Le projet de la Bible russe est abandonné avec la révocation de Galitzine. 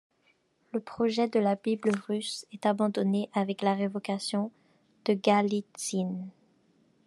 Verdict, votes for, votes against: accepted, 2, 1